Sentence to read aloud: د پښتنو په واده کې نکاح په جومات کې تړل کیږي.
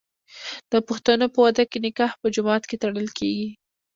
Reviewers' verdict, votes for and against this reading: accepted, 2, 0